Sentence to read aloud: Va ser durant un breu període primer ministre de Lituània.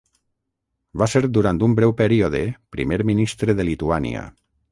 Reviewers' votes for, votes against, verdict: 3, 3, rejected